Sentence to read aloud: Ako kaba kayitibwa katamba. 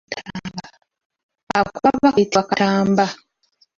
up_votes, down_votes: 0, 2